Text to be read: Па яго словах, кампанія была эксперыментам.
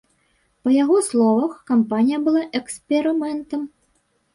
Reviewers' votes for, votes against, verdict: 1, 2, rejected